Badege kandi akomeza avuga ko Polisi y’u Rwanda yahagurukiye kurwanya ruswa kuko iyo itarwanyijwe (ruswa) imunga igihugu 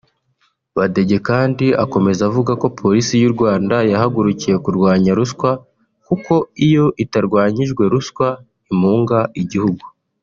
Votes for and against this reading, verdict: 2, 0, accepted